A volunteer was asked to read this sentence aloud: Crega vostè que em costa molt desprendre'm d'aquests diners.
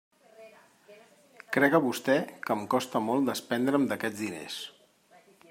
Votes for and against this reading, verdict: 2, 0, accepted